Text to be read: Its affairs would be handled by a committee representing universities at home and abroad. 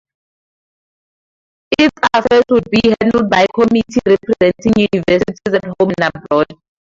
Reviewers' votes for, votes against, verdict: 0, 4, rejected